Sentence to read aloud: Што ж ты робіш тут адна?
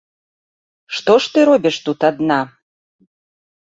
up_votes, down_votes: 2, 0